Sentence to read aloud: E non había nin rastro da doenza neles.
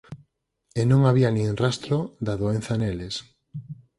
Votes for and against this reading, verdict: 4, 0, accepted